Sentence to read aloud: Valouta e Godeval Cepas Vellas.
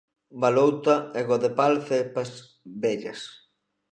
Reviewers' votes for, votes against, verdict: 1, 2, rejected